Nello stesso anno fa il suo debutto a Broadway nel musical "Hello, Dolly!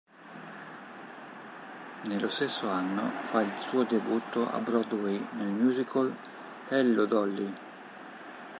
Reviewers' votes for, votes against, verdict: 0, 2, rejected